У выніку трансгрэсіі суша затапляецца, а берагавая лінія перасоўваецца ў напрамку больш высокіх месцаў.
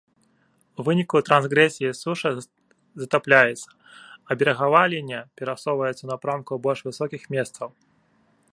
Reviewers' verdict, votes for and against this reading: accepted, 2, 1